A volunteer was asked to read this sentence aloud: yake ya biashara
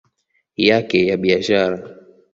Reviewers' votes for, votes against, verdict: 2, 1, accepted